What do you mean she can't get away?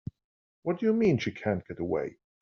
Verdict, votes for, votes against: rejected, 0, 2